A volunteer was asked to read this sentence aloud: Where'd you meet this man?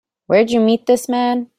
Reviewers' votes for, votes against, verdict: 2, 0, accepted